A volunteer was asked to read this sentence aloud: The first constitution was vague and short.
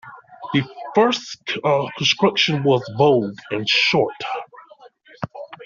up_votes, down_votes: 0, 2